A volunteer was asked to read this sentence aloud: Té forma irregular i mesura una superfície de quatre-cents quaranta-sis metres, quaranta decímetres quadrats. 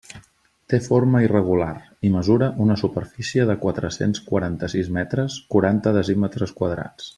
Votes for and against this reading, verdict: 1, 3, rejected